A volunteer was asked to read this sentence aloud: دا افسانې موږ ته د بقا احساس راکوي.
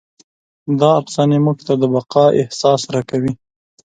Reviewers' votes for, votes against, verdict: 2, 0, accepted